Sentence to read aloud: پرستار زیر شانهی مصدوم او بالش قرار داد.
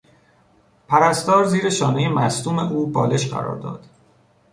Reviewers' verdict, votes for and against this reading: accepted, 3, 0